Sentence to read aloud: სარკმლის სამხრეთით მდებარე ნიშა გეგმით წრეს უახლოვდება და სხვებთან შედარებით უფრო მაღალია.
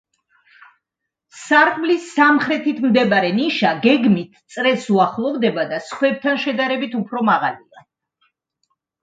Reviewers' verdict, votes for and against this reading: accepted, 2, 0